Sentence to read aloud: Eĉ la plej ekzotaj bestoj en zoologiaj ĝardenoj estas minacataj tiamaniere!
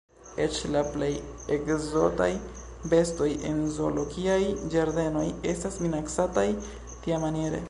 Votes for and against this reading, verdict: 2, 0, accepted